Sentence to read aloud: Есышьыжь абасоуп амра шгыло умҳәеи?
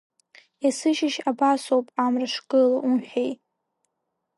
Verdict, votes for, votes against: accepted, 5, 2